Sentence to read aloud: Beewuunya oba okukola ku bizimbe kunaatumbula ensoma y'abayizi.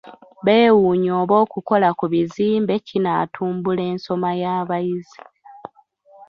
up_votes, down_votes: 0, 2